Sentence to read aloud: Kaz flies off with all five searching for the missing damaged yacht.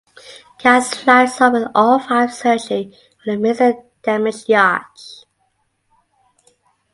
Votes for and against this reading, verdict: 2, 0, accepted